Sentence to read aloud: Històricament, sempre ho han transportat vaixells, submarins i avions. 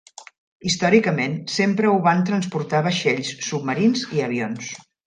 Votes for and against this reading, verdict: 0, 2, rejected